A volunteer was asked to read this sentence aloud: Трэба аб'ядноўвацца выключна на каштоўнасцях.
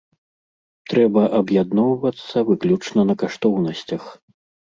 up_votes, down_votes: 2, 0